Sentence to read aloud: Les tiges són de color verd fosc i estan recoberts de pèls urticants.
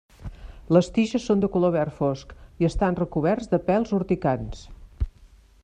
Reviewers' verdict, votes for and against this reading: accepted, 2, 0